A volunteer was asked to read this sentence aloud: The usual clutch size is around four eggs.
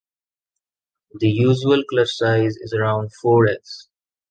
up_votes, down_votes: 2, 0